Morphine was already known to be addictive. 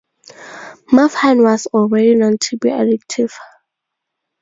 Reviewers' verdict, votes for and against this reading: rejected, 2, 2